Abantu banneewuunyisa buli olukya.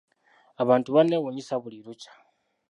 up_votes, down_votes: 1, 2